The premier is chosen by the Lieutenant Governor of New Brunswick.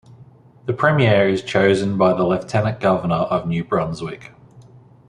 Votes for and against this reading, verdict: 3, 1, accepted